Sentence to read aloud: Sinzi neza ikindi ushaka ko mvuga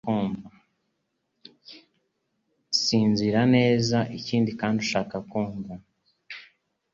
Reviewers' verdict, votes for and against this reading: rejected, 1, 2